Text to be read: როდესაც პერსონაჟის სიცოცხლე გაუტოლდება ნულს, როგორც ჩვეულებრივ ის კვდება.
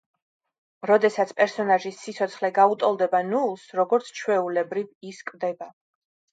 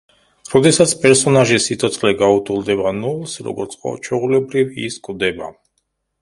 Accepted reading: first